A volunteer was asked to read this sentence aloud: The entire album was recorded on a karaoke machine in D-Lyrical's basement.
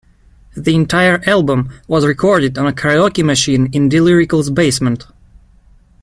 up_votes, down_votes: 3, 0